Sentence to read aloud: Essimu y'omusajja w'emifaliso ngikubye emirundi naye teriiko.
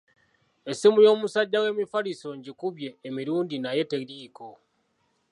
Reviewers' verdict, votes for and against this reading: accepted, 2, 0